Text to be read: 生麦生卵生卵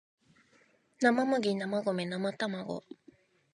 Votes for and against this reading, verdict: 0, 2, rejected